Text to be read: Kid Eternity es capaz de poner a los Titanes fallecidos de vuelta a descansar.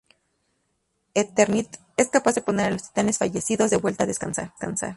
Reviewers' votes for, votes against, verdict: 0, 2, rejected